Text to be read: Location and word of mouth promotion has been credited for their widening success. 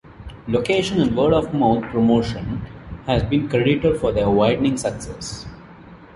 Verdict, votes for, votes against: rejected, 1, 2